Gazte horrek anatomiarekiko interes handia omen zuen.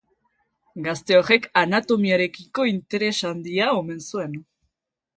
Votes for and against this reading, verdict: 2, 1, accepted